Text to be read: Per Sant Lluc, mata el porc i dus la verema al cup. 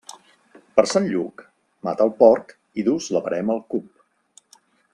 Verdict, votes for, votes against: accepted, 2, 0